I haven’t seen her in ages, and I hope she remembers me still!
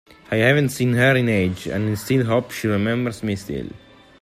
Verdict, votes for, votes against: rejected, 1, 2